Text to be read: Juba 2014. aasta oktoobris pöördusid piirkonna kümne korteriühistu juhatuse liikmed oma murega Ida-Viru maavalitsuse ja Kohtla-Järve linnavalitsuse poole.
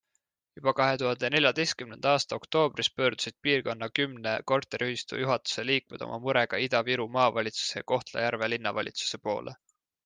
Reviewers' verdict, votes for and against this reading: rejected, 0, 2